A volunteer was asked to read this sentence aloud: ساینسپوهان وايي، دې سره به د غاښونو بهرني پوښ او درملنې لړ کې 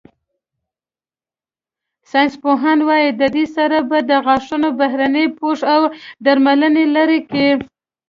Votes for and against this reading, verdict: 1, 2, rejected